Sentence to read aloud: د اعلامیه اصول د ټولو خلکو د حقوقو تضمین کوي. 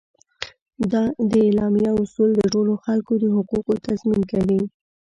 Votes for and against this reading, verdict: 1, 2, rejected